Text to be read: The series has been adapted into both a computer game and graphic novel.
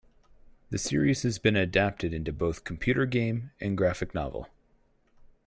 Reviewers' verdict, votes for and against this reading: rejected, 2, 4